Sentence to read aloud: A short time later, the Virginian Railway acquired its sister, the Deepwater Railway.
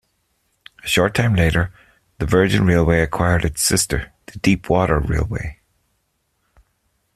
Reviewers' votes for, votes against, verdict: 1, 2, rejected